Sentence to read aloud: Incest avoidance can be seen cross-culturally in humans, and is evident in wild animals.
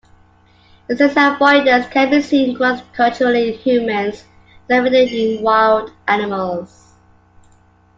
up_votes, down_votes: 1, 2